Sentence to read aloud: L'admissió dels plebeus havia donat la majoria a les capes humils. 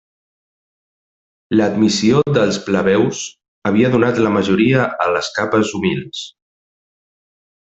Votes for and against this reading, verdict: 3, 0, accepted